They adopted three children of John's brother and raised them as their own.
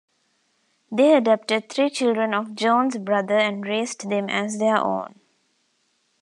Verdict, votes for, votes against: accepted, 2, 0